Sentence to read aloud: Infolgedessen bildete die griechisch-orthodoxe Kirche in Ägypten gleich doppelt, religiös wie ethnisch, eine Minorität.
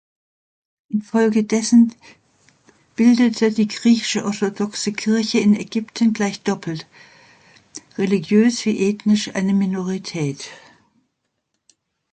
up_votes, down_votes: 1, 2